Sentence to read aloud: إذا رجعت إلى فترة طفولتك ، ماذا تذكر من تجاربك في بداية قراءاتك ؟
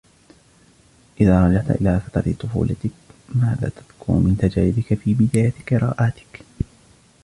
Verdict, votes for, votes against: rejected, 0, 2